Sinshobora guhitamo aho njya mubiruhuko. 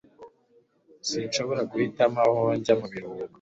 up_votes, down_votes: 2, 0